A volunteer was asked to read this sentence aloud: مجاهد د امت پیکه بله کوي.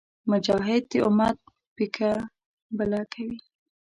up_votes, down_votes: 1, 2